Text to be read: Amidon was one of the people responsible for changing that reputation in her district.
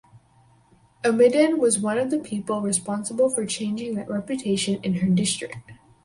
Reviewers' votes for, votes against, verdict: 2, 2, rejected